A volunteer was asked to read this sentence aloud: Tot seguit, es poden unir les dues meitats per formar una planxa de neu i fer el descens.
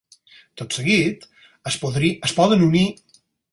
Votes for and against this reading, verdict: 0, 4, rejected